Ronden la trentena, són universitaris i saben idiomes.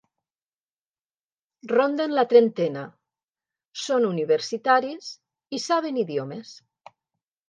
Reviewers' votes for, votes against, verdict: 3, 0, accepted